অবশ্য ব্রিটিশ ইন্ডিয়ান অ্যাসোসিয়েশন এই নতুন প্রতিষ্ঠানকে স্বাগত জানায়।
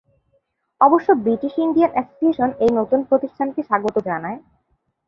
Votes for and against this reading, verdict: 2, 0, accepted